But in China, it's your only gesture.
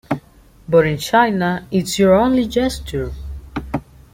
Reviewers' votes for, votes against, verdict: 2, 1, accepted